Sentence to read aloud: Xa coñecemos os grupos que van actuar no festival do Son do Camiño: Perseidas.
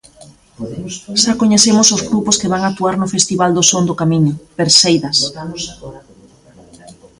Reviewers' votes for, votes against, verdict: 1, 2, rejected